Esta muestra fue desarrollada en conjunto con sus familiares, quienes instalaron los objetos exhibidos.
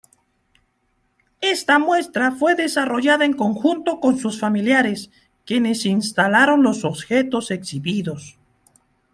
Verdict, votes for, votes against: accepted, 2, 0